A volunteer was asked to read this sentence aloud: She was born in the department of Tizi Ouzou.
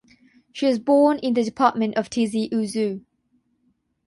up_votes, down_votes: 9, 0